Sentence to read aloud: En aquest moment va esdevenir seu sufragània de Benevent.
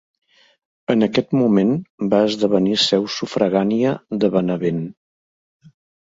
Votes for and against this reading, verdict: 2, 0, accepted